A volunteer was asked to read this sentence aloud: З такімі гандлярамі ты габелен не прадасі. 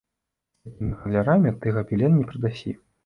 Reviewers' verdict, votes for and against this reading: rejected, 0, 2